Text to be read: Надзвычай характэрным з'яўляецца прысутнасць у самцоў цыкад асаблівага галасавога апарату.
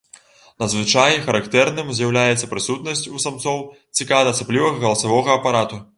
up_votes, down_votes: 1, 2